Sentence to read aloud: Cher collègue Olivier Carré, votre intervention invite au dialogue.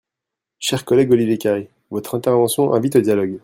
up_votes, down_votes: 2, 0